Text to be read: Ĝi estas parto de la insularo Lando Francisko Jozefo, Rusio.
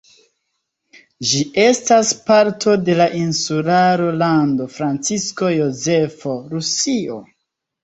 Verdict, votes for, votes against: accepted, 2, 0